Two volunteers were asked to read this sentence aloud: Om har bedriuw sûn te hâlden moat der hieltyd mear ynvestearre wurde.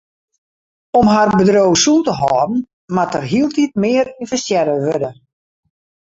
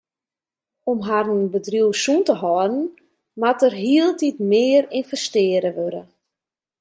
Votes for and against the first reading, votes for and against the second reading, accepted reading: 2, 0, 1, 2, first